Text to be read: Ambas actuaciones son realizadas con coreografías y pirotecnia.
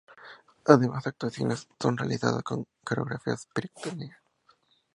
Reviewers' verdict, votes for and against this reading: rejected, 0, 2